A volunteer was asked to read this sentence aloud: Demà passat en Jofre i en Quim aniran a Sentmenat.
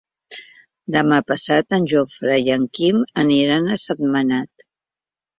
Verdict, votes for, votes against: accepted, 2, 0